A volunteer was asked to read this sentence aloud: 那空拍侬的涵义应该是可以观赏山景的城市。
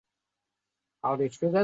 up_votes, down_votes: 1, 2